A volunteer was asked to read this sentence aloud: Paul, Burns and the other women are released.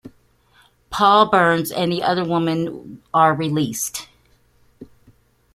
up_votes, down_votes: 1, 2